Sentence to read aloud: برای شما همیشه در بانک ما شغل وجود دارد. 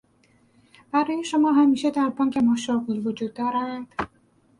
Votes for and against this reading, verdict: 2, 4, rejected